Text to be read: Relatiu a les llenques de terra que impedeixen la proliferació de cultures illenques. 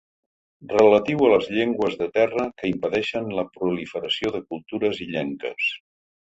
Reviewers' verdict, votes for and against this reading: rejected, 2, 3